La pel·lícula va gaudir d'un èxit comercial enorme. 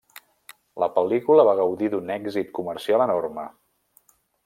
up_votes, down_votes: 3, 0